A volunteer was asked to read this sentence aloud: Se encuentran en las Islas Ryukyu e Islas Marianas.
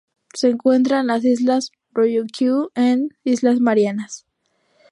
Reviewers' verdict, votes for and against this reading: rejected, 0, 2